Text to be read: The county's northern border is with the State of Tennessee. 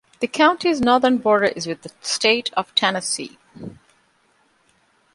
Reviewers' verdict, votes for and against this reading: accepted, 2, 0